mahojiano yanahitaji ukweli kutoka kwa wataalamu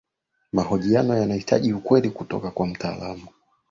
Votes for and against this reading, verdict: 2, 3, rejected